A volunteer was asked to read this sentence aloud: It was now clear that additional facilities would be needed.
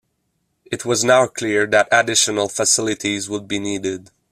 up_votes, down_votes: 2, 0